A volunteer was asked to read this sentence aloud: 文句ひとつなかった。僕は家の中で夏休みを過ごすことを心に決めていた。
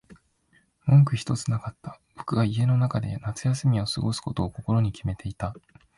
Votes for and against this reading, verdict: 2, 0, accepted